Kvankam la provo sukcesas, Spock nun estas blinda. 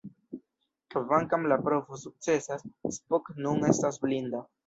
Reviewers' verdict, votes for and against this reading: rejected, 1, 2